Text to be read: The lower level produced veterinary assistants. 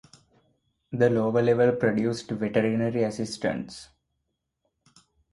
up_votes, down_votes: 2, 2